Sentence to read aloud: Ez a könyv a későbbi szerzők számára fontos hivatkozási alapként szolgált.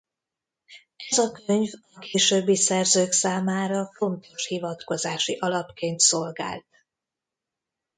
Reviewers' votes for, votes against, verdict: 0, 2, rejected